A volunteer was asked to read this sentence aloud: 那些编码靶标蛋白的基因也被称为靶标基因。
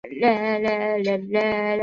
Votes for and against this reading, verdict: 2, 5, rejected